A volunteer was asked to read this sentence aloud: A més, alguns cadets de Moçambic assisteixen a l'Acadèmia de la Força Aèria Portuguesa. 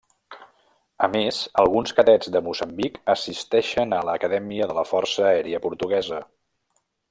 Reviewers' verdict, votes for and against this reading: accepted, 2, 1